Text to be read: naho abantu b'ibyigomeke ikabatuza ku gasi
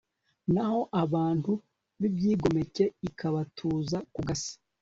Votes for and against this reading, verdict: 2, 0, accepted